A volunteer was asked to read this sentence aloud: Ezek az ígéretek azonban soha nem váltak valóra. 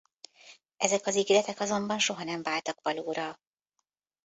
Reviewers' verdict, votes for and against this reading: rejected, 1, 2